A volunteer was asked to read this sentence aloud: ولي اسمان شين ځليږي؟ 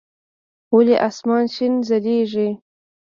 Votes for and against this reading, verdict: 1, 2, rejected